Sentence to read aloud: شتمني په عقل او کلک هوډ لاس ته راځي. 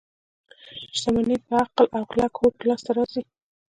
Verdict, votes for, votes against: accepted, 2, 1